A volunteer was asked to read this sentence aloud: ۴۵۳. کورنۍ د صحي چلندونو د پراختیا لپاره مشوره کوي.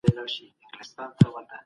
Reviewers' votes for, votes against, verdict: 0, 2, rejected